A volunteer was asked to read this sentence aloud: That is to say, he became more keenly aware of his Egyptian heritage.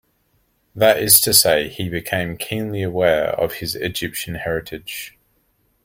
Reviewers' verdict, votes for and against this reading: rejected, 2, 3